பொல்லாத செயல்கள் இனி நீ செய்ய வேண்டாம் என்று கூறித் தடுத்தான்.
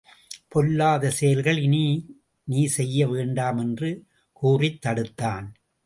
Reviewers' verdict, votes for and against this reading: accepted, 2, 0